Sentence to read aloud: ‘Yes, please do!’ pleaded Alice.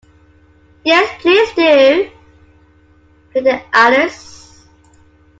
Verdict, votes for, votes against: accepted, 2, 1